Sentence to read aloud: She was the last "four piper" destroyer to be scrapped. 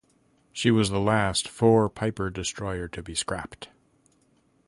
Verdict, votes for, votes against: accepted, 2, 0